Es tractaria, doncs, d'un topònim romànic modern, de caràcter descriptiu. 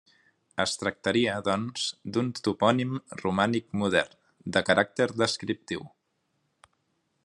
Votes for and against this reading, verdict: 3, 0, accepted